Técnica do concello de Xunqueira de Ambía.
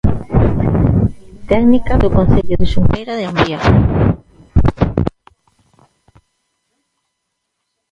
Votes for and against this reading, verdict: 0, 2, rejected